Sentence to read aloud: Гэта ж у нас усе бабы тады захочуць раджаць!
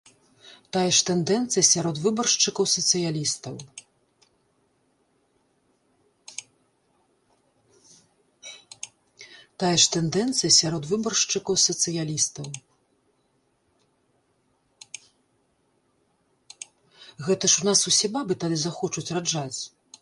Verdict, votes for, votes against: rejected, 0, 2